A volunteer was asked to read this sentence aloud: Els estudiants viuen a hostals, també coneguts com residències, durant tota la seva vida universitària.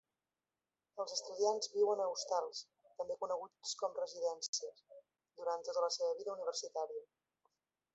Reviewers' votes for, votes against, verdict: 2, 1, accepted